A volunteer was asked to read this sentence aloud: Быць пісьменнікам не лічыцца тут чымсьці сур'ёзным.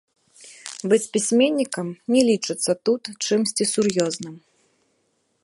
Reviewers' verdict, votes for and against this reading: accepted, 2, 0